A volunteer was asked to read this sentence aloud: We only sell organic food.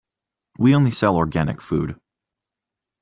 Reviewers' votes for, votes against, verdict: 2, 0, accepted